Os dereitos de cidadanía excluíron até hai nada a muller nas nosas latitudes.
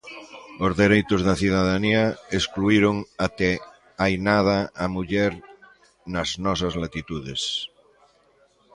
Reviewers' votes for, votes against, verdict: 1, 3, rejected